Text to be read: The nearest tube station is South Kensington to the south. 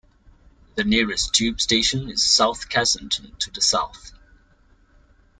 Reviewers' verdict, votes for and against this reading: accepted, 2, 1